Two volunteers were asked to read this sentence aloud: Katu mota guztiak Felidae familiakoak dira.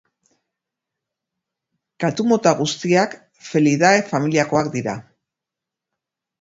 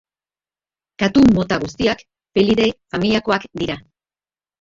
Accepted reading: first